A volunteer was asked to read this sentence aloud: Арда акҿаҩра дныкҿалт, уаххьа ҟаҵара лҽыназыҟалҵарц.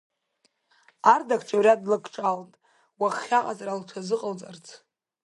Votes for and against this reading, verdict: 1, 2, rejected